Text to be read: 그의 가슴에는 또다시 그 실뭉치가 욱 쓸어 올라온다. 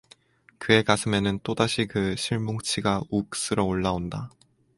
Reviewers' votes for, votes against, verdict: 4, 0, accepted